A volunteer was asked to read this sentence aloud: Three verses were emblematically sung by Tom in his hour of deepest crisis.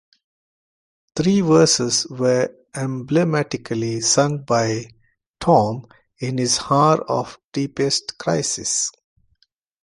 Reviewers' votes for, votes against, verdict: 0, 2, rejected